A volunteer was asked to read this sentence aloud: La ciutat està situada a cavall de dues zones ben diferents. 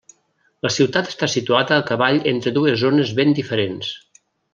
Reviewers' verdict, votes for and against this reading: rejected, 0, 2